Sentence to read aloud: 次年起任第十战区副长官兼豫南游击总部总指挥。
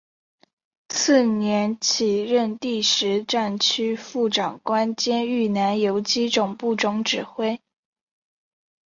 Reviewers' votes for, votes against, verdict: 4, 0, accepted